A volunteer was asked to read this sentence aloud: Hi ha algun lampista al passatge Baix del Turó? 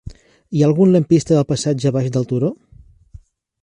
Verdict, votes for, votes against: rejected, 2, 3